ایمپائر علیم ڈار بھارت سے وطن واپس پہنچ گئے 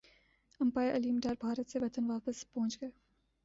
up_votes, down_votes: 1, 3